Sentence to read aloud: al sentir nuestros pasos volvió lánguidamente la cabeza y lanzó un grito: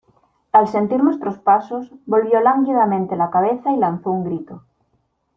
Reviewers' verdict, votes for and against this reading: accepted, 2, 0